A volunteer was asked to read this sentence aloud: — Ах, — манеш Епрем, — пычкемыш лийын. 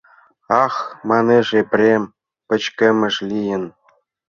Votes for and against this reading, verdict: 2, 0, accepted